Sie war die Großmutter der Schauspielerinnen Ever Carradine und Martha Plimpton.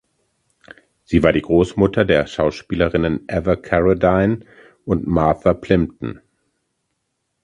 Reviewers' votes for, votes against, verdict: 2, 0, accepted